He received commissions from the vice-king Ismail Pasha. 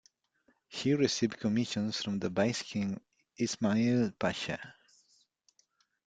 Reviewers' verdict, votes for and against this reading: accepted, 2, 0